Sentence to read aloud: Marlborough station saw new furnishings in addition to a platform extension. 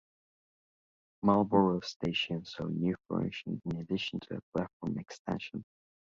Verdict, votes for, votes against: accepted, 2, 0